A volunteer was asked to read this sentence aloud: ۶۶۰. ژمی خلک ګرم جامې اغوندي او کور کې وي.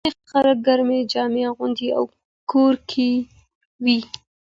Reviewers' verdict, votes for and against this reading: rejected, 0, 2